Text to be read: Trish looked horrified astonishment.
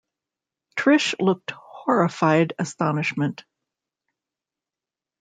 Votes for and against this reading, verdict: 1, 2, rejected